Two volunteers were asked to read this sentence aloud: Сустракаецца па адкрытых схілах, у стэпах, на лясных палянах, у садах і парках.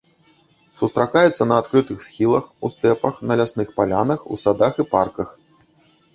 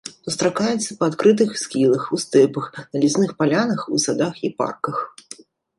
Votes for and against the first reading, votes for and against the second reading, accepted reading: 0, 2, 2, 0, second